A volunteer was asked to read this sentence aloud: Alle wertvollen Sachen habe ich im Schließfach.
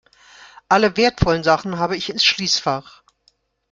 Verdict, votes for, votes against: rejected, 1, 2